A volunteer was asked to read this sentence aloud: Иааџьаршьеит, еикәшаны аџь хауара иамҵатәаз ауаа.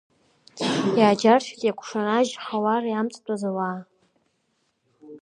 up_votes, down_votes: 1, 2